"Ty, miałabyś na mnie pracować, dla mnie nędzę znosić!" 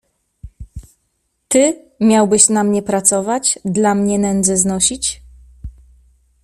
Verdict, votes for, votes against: rejected, 0, 2